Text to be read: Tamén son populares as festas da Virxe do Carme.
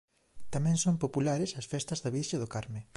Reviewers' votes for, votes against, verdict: 2, 1, accepted